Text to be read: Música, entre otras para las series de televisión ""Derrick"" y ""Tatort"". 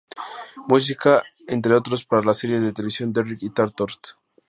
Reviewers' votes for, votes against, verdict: 0, 2, rejected